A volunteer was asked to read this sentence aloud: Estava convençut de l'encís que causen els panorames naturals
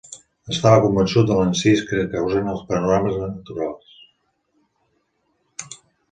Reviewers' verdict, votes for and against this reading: accepted, 3, 2